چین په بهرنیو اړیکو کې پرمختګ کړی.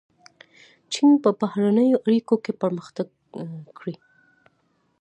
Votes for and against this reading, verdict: 3, 0, accepted